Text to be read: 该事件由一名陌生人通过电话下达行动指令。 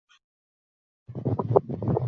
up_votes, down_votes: 2, 3